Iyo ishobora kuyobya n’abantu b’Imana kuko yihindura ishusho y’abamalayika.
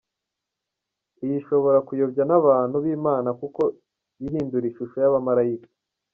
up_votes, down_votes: 2, 1